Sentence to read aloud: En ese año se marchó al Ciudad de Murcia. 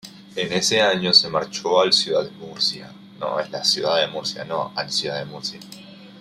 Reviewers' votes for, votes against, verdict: 0, 2, rejected